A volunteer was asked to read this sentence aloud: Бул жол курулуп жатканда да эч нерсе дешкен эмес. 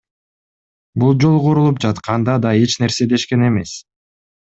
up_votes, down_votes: 2, 0